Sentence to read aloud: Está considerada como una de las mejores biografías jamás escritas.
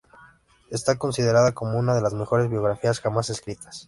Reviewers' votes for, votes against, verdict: 3, 0, accepted